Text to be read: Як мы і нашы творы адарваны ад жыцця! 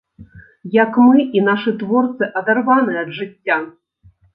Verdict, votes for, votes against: rejected, 1, 2